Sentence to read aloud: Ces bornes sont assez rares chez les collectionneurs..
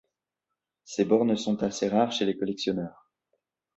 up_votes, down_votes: 2, 0